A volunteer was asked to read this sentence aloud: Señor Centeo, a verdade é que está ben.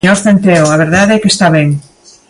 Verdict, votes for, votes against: rejected, 1, 2